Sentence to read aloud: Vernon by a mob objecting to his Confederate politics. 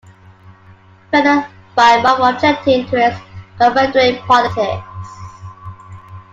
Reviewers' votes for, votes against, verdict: 0, 2, rejected